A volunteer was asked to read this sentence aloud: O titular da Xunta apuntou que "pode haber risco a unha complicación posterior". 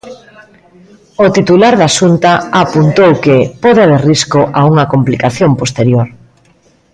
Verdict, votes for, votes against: rejected, 1, 2